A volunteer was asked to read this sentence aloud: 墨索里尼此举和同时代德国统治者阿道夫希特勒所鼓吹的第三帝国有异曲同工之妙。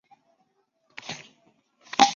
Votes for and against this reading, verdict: 0, 2, rejected